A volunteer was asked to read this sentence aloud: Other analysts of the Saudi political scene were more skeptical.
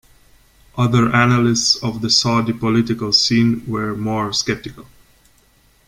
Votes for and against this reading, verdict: 2, 0, accepted